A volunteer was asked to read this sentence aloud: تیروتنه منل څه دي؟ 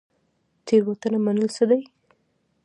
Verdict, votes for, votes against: accepted, 2, 1